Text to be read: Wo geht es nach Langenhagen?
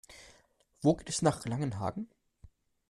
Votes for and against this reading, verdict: 0, 2, rejected